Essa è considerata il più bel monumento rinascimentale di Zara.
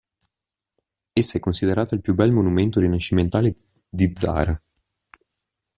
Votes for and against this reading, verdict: 2, 0, accepted